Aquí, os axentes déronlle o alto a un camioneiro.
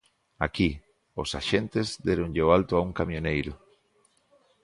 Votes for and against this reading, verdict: 2, 0, accepted